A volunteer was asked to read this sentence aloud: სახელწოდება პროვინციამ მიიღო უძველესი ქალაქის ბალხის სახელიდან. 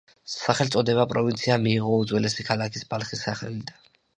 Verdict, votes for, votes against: accepted, 2, 0